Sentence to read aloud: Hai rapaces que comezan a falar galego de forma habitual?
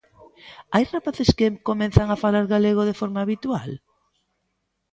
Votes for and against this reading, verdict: 0, 3, rejected